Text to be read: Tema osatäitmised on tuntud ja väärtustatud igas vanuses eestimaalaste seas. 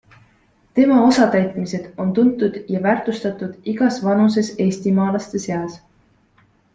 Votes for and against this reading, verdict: 2, 0, accepted